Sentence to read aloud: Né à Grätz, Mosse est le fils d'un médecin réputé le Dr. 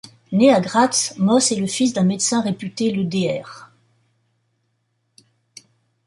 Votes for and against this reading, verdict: 1, 2, rejected